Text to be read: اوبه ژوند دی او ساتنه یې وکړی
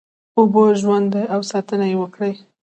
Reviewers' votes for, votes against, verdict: 2, 0, accepted